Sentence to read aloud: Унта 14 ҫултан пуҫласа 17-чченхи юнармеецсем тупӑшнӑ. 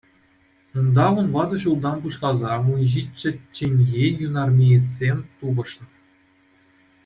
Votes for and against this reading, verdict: 0, 2, rejected